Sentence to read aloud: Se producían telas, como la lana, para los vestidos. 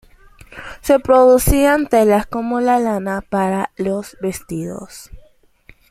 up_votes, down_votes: 2, 0